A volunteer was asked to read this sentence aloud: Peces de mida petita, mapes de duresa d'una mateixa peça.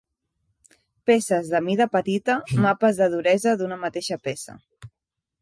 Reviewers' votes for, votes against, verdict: 2, 0, accepted